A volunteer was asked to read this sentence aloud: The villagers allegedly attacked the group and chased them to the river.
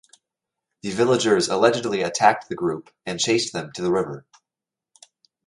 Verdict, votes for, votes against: accepted, 2, 0